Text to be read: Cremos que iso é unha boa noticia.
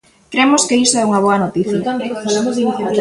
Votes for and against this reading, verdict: 0, 2, rejected